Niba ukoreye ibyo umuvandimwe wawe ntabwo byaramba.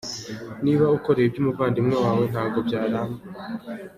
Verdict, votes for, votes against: accepted, 2, 0